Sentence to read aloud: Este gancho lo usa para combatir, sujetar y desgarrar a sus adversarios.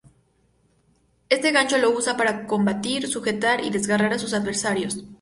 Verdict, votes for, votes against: accepted, 2, 0